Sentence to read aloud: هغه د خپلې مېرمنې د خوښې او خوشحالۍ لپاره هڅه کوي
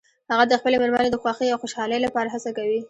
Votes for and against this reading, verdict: 2, 0, accepted